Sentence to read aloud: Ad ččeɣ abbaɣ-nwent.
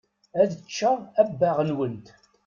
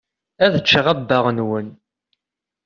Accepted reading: first